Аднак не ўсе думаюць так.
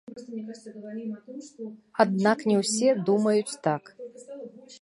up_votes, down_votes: 1, 2